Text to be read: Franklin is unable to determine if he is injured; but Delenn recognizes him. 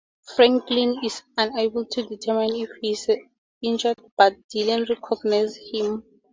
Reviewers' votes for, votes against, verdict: 4, 0, accepted